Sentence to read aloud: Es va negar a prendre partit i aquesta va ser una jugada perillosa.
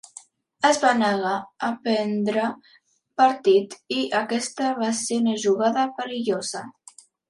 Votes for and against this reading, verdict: 4, 1, accepted